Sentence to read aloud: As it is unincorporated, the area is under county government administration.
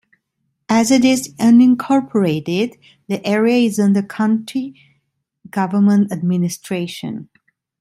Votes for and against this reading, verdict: 2, 0, accepted